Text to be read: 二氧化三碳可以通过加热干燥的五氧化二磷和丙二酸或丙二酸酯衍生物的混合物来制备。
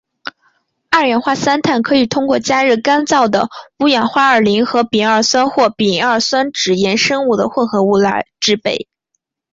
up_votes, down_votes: 3, 1